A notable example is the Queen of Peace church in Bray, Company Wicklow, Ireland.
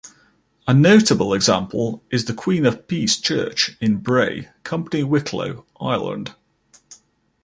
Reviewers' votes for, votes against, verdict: 2, 0, accepted